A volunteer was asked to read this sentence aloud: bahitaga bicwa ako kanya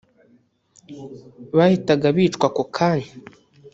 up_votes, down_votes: 1, 2